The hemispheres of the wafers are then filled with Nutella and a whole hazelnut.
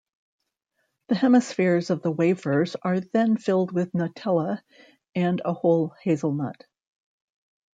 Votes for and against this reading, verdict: 2, 0, accepted